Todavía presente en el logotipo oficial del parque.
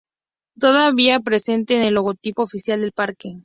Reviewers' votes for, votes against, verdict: 2, 0, accepted